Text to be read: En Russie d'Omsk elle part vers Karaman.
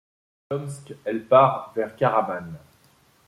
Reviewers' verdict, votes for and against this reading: rejected, 1, 2